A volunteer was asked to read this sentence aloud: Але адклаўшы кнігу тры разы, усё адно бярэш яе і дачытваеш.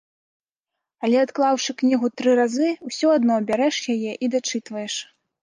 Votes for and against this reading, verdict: 2, 0, accepted